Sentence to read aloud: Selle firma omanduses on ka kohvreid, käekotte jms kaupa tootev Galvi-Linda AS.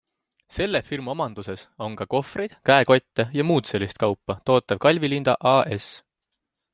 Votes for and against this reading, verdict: 2, 0, accepted